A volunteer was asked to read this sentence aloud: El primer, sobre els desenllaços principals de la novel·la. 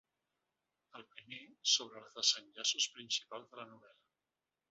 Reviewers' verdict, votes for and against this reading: rejected, 0, 2